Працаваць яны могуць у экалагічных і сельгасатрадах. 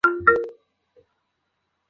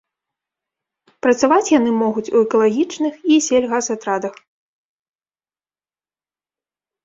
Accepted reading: second